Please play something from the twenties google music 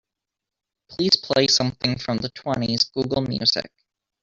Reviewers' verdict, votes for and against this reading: accepted, 2, 0